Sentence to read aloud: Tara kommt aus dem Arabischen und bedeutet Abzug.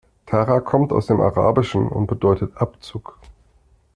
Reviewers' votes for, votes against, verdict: 2, 0, accepted